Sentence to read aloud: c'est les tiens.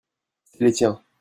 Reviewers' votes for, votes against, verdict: 0, 2, rejected